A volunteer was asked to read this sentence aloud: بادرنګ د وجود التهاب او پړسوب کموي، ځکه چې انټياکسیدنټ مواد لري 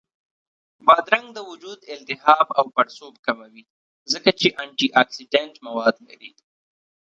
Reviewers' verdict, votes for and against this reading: rejected, 1, 2